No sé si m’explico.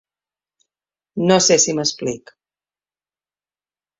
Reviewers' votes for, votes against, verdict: 0, 2, rejected